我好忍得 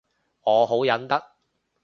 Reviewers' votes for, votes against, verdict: 2, 0, accepted